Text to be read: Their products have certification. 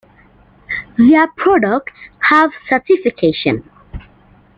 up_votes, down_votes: 2, 0